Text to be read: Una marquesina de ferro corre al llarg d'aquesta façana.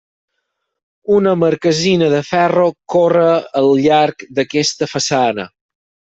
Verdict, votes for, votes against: accepted, 6, 0